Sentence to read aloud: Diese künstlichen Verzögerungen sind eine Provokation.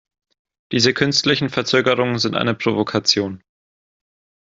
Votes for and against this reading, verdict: 2, 0, accepted